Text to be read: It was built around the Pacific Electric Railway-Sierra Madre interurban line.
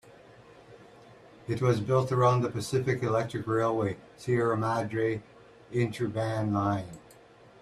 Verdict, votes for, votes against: accepted, 2, 0